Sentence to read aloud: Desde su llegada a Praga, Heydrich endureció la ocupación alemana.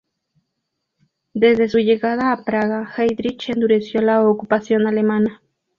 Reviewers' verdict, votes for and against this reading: accepted, 2, 0